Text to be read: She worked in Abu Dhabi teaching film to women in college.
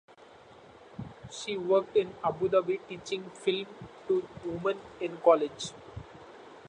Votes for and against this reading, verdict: 2, 0, accepted